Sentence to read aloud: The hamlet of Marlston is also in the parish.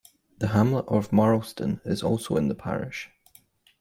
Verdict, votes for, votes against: accepted, 2, 0